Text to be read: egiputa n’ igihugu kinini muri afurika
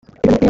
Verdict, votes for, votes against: rejected, 1, 3